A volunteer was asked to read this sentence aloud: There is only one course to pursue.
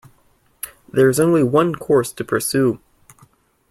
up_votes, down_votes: 2, 0